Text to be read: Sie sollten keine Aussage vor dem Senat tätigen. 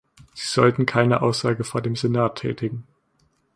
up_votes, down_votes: 2, 0